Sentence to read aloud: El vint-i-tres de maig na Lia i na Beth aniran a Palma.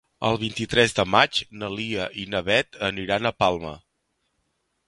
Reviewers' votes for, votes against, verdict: 2, 0, accepted